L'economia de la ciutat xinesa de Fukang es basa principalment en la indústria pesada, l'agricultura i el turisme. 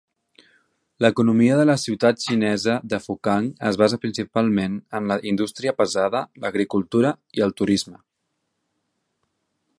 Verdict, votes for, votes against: accepted, 2, 0